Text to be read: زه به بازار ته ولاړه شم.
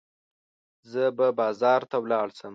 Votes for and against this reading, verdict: 1, 2, rejected